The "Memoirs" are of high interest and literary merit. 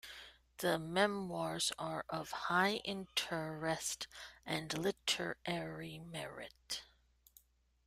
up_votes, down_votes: 2, 0